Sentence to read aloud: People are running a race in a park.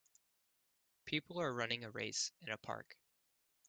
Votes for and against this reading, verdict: 2, 0, accepted